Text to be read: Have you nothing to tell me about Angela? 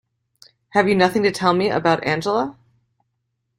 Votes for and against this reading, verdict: 2, 0, accepted